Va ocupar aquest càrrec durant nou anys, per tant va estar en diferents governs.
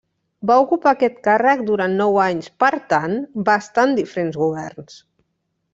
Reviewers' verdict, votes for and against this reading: accepted, 2, 0